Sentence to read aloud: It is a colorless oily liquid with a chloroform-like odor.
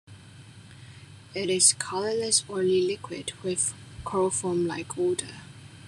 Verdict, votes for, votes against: rejected, 0, 2